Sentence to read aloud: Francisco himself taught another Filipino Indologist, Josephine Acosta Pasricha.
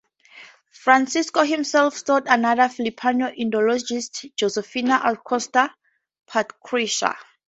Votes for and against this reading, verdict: 2, 0, accepted